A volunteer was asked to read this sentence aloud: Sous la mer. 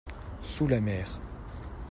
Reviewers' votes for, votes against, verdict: 2, 0, accepted